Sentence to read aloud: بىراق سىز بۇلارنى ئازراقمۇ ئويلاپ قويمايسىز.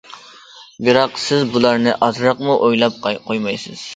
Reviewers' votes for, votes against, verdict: 0, 2, rejected